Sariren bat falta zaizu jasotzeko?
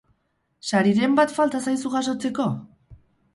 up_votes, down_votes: 2, 2